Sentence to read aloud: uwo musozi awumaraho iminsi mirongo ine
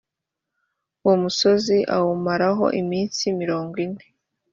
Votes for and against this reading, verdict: 3, 0, accepted